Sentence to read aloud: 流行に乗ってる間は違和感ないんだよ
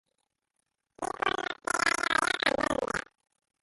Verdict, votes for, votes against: rejected, 0, 2